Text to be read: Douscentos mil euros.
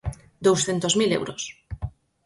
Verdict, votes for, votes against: accepted, 4, 0